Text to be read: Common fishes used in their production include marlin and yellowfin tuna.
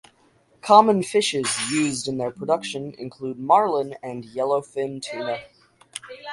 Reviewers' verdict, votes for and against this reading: rejected, 2, 4